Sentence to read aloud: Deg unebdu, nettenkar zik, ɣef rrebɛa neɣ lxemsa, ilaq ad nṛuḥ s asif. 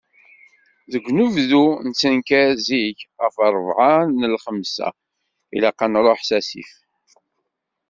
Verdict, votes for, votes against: rejected, 1, 2